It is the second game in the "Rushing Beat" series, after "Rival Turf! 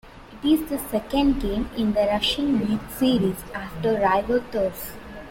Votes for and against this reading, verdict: 2, 1, accepted